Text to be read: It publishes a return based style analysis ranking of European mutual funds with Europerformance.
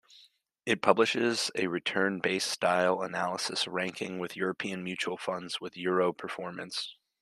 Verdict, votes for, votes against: rejected, 1, 2